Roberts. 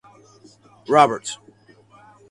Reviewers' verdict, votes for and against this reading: accepted, 4, 0